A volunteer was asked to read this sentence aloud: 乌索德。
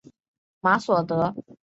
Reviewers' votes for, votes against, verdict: 0, 2, rejected